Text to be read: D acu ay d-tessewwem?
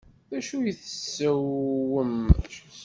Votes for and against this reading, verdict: 0, 2, rejected